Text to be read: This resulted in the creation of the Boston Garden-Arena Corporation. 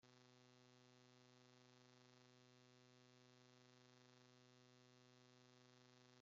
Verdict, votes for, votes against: rejected, 0, 2